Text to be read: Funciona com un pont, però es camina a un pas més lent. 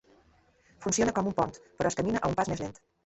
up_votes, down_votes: 0, 2